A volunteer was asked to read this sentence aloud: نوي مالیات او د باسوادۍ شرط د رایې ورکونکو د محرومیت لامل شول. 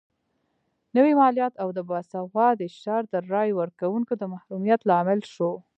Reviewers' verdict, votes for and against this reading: rejected, 0, 2